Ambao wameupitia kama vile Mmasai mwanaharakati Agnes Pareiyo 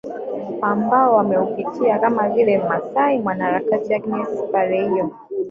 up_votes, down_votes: 0, 4